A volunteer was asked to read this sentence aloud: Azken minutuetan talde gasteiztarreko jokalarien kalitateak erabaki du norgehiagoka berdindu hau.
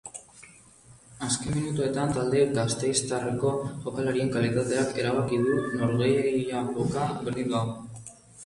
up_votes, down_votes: 2, 0